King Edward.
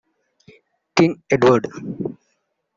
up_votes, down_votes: 1, 2